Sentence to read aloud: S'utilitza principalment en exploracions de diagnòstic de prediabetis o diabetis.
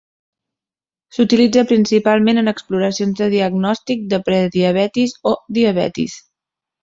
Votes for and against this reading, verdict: 3, 0, accepted